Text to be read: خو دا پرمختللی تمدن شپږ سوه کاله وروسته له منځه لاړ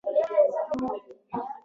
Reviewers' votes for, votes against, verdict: 1, 2, rejected